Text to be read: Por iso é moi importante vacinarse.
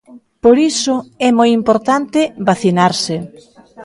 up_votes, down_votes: 2, 0